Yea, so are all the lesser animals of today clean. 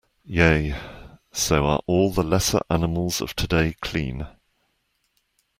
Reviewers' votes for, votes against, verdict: 2, 0, accepted